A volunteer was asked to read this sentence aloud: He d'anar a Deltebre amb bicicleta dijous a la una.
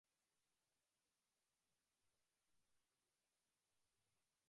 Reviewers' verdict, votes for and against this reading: rejected, 0, 2